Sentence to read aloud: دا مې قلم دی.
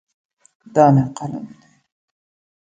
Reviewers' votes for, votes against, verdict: 1, 2, rejected